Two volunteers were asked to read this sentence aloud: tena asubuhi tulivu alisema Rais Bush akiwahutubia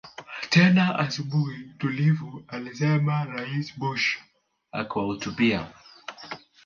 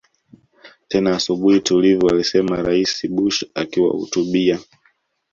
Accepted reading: second